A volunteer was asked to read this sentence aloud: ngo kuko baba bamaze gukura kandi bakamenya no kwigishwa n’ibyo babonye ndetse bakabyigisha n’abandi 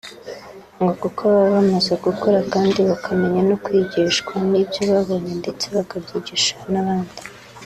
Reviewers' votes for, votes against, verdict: 2, 0, accepted